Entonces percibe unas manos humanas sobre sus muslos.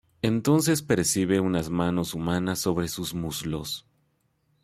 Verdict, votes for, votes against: accepted, 2, 0